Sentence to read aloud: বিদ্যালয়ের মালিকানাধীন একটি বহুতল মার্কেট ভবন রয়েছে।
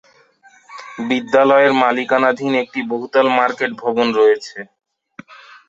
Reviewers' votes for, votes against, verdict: 2, 0, accepted